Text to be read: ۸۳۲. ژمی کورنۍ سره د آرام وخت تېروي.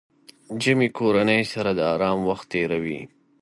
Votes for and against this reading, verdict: 0, 2, rejected